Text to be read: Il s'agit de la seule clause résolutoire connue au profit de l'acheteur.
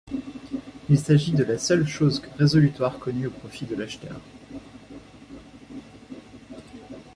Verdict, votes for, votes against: rejected, 0, 2